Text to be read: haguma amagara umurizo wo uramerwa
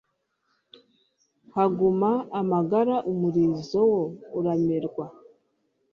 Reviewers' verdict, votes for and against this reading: accepted, 2, 0